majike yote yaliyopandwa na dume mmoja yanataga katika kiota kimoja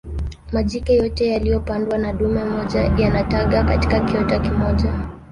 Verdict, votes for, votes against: rejected, 0, 2